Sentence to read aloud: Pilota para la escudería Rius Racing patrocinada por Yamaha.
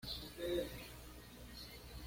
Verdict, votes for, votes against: rejected, 1, 2